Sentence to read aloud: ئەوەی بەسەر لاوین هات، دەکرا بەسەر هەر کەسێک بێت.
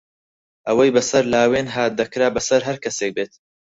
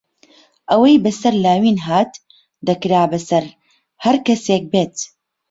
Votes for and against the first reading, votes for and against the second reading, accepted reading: 2, 4, 4, 0, second